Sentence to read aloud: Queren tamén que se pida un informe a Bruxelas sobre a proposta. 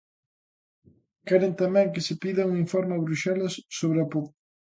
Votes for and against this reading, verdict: 0, 2, rejected